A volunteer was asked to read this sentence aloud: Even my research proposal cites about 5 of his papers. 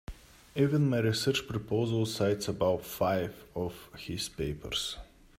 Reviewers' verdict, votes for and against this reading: rejected, 0, 2